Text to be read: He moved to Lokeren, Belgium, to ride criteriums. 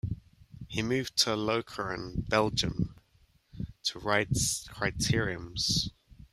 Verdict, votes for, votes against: rejected, 1, 2